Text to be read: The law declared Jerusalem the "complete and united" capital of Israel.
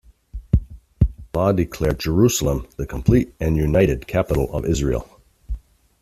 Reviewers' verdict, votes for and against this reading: rejected, 1, 2